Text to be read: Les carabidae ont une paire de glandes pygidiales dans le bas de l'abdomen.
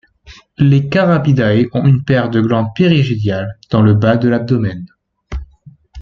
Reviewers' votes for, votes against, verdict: 0, 2, rejected